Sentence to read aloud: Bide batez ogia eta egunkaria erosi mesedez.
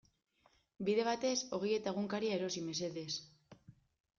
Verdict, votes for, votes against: accepted, 2, 0